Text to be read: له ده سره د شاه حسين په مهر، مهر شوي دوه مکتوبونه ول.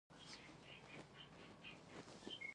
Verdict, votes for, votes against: rejected, 1, 2